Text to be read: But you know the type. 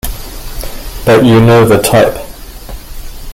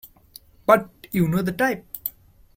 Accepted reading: second